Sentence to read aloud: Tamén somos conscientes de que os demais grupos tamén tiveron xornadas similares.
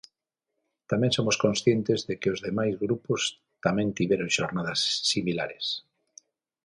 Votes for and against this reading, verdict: 6, 0, accepted